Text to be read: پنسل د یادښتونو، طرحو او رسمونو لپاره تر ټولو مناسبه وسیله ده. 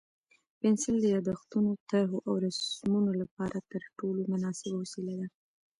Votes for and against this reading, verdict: 2, 0, accepted